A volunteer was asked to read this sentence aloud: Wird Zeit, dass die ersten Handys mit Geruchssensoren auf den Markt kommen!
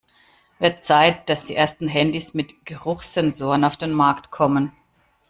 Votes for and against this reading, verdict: 2, 0, accepted